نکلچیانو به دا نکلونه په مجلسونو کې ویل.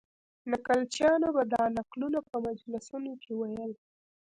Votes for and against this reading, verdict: 0, 2, rejected